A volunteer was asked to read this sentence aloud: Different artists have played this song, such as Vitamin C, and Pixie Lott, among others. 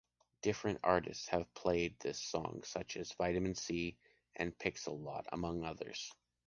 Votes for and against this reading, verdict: 2, 0, accepted